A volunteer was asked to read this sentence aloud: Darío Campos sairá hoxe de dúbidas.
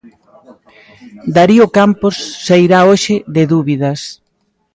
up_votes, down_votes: 1, 2